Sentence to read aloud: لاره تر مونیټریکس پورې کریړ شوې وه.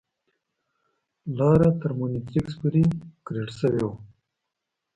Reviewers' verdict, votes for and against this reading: rejected, 0, 2